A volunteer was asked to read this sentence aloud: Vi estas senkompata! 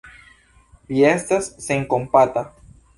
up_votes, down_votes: 0, 2